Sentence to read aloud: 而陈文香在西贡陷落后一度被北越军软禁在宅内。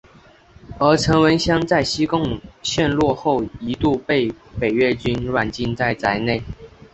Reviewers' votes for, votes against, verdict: 2, 0, accepted